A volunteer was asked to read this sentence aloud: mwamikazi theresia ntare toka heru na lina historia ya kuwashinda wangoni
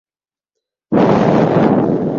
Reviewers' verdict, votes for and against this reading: rejected, 0, 2